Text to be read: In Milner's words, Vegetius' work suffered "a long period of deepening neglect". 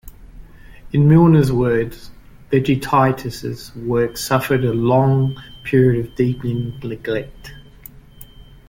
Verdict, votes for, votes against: rejected, 1, 2